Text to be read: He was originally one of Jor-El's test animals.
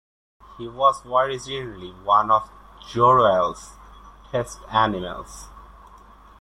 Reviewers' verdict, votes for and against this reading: rejected, 1, 2